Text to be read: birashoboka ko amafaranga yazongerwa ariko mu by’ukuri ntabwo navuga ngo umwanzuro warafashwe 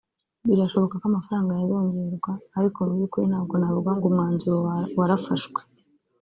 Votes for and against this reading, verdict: 0, 2, rejected